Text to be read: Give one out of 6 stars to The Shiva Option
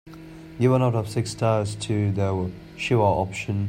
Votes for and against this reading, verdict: 0, 2, rejected